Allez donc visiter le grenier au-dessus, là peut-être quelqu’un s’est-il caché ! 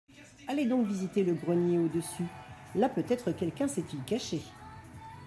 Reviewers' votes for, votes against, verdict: 0, 2, rejected